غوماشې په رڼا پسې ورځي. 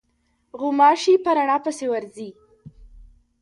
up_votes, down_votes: 1, 2